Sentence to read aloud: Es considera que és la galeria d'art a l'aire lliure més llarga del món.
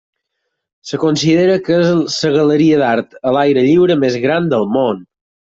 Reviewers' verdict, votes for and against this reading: rejected, 2, 4